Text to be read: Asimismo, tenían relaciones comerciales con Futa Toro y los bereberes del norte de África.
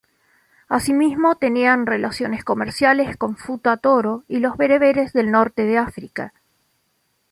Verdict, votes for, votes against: accepted, 2, 0